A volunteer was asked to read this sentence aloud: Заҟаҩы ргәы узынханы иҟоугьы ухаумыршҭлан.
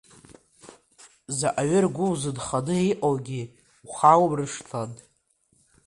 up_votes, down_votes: 2, 0